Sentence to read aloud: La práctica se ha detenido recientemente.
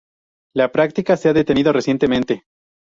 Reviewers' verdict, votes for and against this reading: rejected, 0, 2